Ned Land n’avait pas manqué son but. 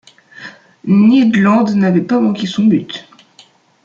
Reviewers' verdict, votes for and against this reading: accepted, 2, 1